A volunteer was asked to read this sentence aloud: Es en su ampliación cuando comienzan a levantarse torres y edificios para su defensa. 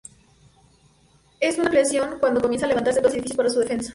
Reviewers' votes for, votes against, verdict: 0, 2, rejected